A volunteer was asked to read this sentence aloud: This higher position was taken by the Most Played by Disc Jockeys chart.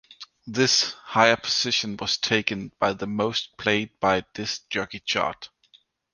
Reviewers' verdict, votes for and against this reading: rejected, 1, 2